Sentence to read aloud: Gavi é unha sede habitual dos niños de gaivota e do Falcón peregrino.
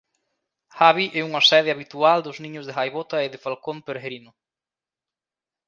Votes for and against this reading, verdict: 0, 2, rejected